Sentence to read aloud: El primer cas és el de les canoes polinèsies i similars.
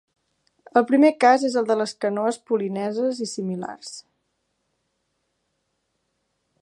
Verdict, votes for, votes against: rejected, 0, 2